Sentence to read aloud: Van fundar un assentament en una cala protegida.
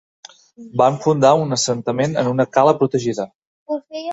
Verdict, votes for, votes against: accepted, 2, 0